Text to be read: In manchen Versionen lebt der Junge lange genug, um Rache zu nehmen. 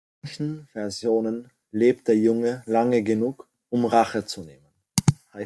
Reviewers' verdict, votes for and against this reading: rejected, 1, 2